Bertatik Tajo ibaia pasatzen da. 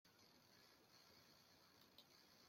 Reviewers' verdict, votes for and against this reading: rejected, 0, 2